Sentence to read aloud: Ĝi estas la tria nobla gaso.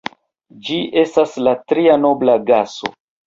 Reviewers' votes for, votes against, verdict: 2, 1, accepted